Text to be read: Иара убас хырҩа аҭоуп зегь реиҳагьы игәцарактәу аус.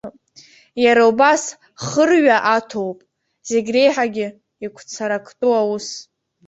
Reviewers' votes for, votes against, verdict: 2, 1, accepted